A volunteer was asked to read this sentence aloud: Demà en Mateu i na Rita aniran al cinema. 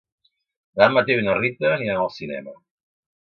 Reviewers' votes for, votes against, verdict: 2, 3, rejected